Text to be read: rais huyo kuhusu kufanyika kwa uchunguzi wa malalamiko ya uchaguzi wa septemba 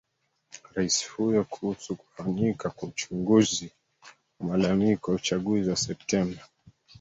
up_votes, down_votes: 0, 2